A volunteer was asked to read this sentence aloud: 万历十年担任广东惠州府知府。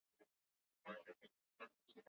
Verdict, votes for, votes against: rejected, 2, 8